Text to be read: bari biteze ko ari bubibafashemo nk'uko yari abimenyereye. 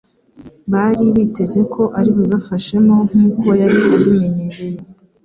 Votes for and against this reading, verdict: 2, 0, accepted